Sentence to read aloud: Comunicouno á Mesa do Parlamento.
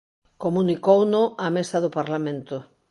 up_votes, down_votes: 2, 0